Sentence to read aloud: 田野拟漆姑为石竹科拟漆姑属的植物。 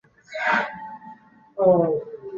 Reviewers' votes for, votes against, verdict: 0, 2, rejected